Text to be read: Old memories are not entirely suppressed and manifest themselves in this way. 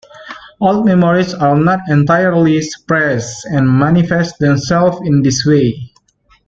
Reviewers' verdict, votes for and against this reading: rejected, 0, 2